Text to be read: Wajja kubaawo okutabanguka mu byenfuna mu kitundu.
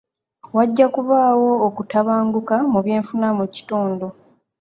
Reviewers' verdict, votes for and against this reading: accepted, 2, 0